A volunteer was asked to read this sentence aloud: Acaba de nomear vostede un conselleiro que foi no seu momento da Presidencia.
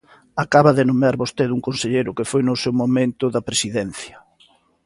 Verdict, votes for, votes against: accepted, 2, 0